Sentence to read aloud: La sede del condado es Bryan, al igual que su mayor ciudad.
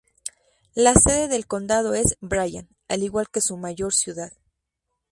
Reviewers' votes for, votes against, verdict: 4, 0, accepted